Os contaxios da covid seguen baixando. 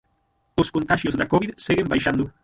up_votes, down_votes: 0, 6